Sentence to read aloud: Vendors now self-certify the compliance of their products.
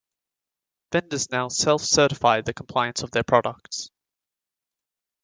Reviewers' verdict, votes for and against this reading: accepted, 2, 0